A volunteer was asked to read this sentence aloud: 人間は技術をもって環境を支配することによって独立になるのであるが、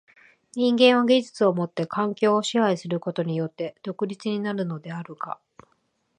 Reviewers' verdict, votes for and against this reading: accepted, 3, 0